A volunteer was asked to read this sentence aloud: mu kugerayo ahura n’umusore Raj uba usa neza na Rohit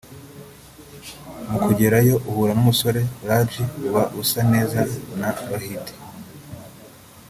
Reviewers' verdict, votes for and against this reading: rejected, 1, 2